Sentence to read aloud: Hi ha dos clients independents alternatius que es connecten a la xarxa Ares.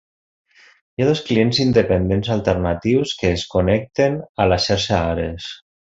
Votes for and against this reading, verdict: 2, 0, accepted